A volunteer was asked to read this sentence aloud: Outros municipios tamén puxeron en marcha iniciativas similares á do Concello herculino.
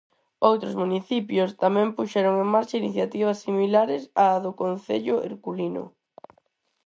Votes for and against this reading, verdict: 4, 0, accepted